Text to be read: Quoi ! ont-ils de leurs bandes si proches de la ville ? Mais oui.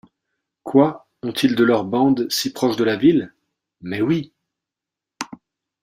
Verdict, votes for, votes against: accepted, 2, 0